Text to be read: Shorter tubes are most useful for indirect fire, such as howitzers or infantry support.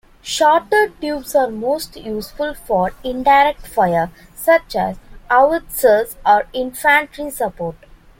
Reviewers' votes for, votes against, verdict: 1, 2, rejected